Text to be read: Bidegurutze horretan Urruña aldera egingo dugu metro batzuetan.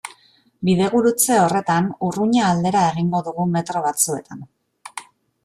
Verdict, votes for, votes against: accepted, 2, 0